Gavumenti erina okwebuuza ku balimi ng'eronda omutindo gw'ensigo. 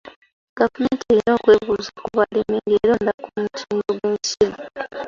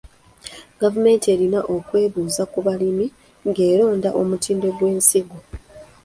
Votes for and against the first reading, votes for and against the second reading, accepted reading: 2, 3, 2, 0, second